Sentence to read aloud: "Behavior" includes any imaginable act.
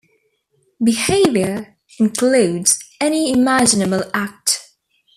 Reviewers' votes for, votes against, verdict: 1, 2, rejected